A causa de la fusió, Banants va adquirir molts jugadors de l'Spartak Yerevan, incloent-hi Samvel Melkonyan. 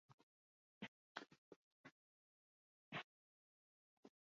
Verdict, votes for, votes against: rejected, 0, 2